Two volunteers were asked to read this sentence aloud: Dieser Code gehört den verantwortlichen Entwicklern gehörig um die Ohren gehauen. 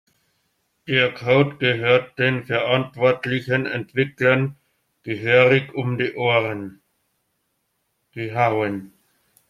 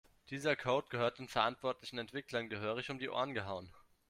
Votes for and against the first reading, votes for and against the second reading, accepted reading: 1, 2, 2, 0, second